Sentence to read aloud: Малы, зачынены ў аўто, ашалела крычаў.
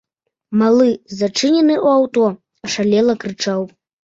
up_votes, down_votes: 2, 0